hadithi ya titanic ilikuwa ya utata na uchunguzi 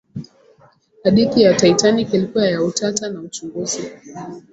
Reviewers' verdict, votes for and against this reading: rejected, 1, 3